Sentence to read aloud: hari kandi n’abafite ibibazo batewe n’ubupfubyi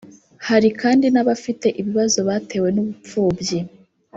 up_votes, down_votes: 1, 2